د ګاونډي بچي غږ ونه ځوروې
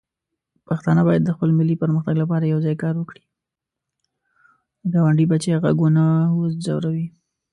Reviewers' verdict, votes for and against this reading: rejected, 0, 2